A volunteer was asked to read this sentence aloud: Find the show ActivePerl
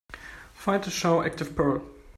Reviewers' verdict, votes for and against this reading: accepted, 2, 0